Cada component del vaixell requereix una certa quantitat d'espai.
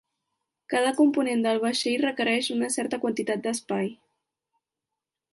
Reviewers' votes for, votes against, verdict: 3, 0, accepted